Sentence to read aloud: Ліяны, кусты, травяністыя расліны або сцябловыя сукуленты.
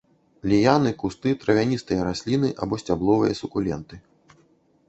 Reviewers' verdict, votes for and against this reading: accepted, 3, 0